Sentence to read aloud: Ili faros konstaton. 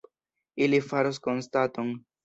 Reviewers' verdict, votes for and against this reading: rejected, 1, 2